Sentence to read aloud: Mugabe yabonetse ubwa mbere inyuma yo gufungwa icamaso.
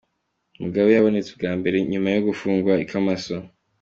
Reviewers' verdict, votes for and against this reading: accepted, 2, 1